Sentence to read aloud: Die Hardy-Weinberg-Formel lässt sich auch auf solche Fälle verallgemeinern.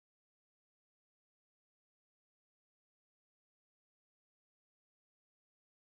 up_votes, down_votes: 0, 2